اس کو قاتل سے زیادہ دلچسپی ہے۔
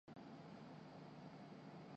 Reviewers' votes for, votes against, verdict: 0, 2, rejected